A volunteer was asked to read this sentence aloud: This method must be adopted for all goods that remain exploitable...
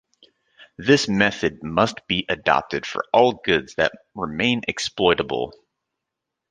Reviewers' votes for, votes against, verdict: 2, 0, accepted